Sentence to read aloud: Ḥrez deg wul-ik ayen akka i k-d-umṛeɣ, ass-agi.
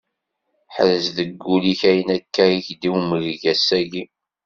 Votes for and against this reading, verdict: 1, 2, rejected